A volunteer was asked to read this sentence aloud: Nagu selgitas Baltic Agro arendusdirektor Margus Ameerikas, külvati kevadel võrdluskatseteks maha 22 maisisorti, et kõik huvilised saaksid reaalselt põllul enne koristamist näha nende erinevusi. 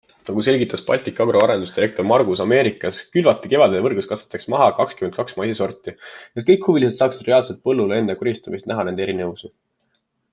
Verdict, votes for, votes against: rejected, 0, 2